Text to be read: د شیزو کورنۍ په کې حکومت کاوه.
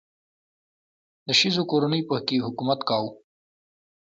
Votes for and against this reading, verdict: 2, 1, accepted